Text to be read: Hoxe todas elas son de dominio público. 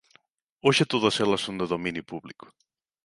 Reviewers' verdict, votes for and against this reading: accepted, 2, 0